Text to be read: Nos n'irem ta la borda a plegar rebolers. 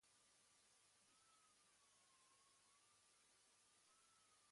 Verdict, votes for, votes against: rejected, 1, 2